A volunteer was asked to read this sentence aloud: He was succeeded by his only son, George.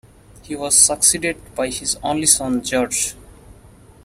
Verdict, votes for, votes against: accepted, 2, 1